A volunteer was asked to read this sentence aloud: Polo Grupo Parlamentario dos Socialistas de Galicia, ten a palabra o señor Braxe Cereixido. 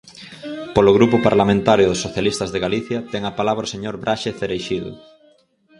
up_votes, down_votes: 2, 2